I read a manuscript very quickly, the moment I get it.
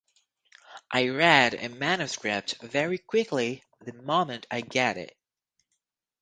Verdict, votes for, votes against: accepted, 4, 0